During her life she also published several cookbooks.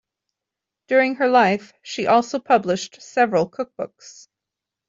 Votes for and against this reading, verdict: 2, 0, accepted